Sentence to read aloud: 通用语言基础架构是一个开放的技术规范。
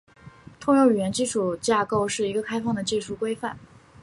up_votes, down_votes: 5, 0